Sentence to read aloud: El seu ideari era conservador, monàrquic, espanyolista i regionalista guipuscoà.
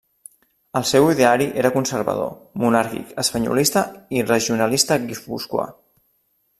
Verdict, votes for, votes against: rejected, 1, 2